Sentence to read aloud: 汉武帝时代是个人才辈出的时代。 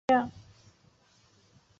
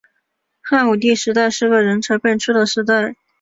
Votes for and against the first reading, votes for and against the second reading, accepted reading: 0, 4, 3, 0, second